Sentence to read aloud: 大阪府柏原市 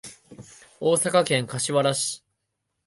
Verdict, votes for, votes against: rejected, 0, 2